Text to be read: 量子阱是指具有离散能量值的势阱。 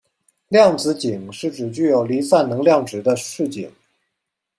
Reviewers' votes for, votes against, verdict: 2, 0, accepted